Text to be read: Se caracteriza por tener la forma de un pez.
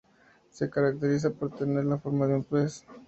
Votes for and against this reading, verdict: 2, 0, accepted